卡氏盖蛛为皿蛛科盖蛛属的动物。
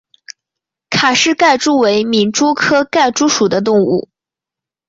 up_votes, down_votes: 3, 0